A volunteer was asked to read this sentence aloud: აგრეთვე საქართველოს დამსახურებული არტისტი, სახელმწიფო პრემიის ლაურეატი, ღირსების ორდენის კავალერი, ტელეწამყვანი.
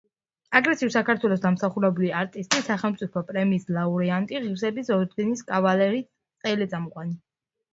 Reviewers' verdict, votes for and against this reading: accepted, 2, 0